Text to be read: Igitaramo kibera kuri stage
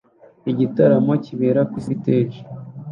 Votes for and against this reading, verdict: 2, 0, accepted